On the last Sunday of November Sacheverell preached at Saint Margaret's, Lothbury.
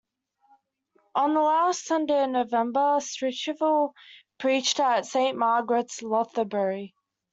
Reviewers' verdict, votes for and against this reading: rejected, 1, 2